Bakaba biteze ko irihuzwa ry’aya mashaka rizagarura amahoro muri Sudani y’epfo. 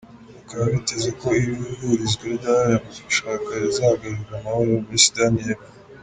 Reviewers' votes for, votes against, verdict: 1, 2, rejected